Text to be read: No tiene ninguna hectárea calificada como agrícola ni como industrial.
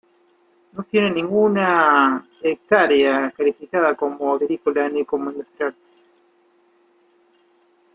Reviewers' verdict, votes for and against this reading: rejected, 1, 2